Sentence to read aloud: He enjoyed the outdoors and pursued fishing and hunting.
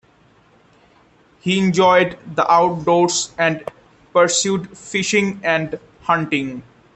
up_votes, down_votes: 1, 2